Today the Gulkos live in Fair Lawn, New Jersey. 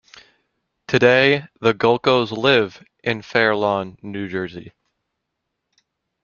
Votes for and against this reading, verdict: 3, 0, accepted